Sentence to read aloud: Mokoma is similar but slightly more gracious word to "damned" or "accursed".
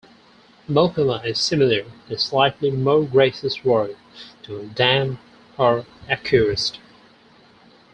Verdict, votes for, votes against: accepted, 4, 0